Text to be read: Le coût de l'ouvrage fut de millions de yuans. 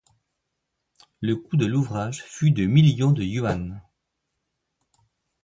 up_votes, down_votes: 2, 0